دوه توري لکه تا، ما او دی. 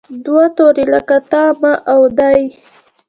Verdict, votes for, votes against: rejected, 1, 2